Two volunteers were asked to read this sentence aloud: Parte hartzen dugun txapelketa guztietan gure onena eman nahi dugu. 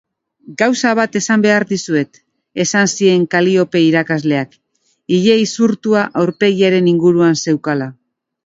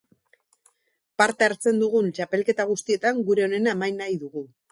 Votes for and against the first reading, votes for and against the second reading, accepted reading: 0, 2, 2, 0, second